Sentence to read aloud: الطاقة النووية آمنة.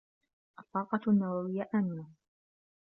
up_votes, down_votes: 1, 2